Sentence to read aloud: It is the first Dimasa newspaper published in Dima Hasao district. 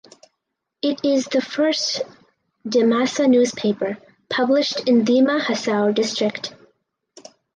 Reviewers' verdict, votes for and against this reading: accepted, 4, 0